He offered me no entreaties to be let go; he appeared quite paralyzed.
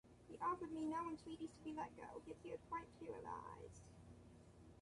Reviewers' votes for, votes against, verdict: 1, 2, rejected